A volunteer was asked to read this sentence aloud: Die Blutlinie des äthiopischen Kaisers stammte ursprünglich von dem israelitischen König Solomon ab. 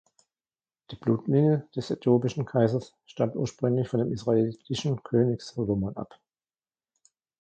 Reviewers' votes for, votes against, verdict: 0, 2, rejected